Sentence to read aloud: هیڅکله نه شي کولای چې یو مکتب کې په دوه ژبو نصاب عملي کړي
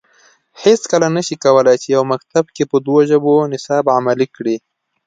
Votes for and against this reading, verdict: 2, 0, accepted